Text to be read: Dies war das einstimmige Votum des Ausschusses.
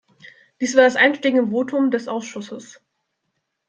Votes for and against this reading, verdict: 1, 2, rejected